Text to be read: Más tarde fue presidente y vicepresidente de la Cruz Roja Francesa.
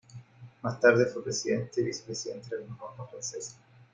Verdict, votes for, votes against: accepted, 2, 1